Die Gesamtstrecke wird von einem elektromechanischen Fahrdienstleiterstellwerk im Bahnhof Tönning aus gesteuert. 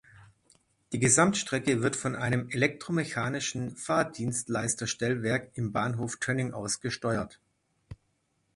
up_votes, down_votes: 1, 2